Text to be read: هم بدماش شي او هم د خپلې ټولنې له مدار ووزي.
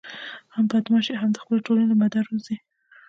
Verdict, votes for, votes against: accepted, 2, 0